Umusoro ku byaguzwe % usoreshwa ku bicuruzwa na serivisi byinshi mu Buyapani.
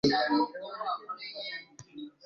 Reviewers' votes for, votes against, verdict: 0, 2, rejected